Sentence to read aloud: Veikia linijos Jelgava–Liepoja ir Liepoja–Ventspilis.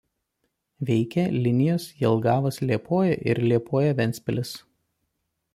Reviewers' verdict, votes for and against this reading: rejected, 1, 2